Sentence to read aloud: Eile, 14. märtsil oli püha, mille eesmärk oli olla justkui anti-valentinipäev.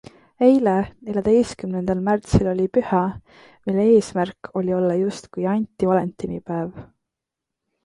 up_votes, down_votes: 0, 2